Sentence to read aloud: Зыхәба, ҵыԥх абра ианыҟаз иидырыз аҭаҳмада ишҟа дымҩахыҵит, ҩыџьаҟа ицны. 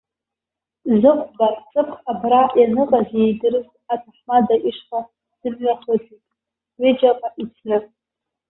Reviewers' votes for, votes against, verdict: 0, 2, rejected